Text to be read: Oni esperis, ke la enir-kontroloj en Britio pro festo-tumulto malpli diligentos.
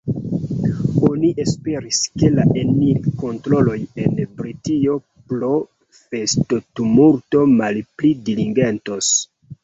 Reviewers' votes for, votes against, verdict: 2, 0, accepted